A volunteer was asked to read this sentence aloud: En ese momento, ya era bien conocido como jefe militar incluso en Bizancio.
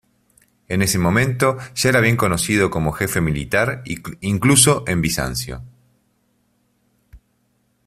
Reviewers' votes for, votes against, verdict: 1, 2, rejected